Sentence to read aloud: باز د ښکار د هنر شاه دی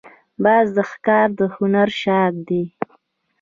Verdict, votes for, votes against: rejected, 1, 2